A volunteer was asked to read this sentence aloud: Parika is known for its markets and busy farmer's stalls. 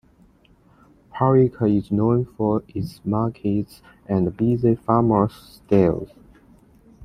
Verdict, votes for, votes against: accepted, 2, 1